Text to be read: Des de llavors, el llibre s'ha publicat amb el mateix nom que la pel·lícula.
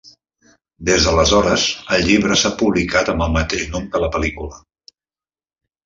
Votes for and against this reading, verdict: 0, 2, rejected